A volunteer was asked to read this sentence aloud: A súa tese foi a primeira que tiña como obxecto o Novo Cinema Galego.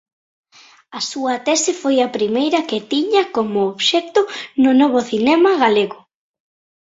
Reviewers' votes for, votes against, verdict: 1, 2, rejected